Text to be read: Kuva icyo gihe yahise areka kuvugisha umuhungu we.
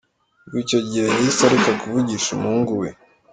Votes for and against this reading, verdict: 1, 2, rejected